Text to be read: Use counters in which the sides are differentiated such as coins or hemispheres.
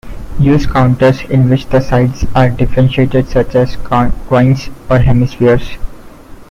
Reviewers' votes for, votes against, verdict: 1, 2, rejected